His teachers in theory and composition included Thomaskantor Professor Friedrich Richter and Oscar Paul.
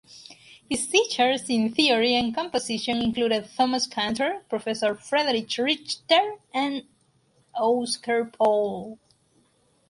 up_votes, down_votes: 2, 4